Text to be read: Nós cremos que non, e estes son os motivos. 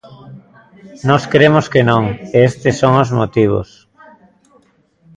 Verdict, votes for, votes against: accepted, 2, 0